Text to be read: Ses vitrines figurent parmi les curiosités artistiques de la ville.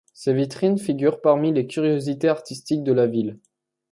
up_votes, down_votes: 2, 0